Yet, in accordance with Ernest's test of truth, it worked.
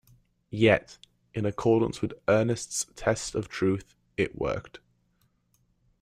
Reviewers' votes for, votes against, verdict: 2, 1, accepted